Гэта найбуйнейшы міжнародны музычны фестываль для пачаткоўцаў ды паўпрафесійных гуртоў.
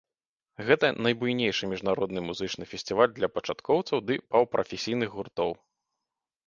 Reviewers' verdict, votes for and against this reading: rejected, 1, 2